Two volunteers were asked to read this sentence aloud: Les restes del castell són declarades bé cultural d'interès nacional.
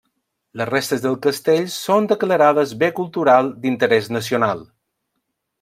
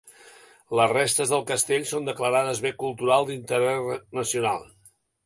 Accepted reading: first